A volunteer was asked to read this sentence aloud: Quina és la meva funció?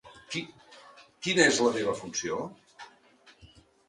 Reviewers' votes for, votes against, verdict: 0, 2, rejected